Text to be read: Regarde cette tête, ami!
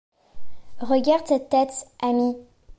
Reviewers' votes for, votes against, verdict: 2, 0, accepted